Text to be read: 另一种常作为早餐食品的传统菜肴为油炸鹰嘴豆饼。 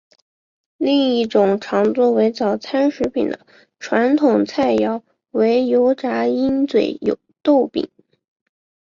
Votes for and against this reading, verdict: 8, 1, accepted